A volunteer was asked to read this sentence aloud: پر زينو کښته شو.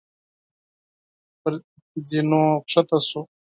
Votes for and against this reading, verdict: 8, 0, accepted